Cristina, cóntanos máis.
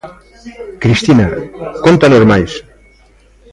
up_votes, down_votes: 2, 0